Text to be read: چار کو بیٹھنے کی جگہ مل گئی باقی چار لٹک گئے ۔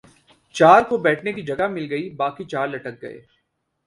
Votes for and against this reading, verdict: 2, 0, accepted